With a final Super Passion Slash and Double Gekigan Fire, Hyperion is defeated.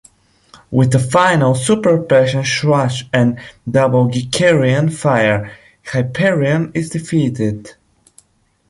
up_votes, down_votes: 1, 2